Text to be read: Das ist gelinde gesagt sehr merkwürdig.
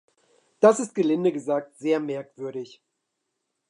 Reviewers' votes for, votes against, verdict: 2, 0, accepted